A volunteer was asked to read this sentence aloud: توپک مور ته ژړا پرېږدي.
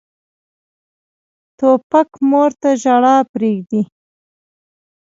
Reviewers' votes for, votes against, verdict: 2, 0, accepted